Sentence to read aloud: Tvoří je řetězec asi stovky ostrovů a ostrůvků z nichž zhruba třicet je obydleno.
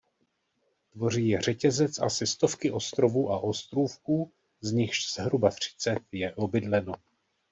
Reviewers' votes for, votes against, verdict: 2, 0, accepted